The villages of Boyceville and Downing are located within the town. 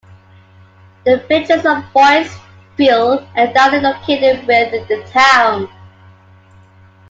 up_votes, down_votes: 1, 2